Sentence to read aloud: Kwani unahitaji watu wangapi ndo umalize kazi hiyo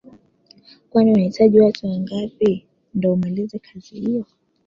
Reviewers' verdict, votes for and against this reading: rejected, 0, 2